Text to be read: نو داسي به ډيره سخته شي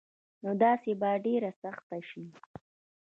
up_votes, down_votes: 1, 2